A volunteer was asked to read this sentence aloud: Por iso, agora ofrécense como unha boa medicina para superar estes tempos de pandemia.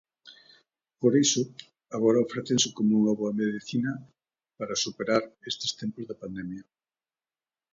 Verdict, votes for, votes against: accepted, 2, 0